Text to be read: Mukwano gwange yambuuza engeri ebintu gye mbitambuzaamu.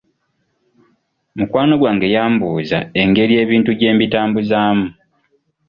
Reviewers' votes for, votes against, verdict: 2, 0, accepted